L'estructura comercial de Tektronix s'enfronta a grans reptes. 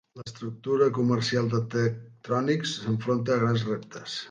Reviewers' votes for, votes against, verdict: 0, 3, rejected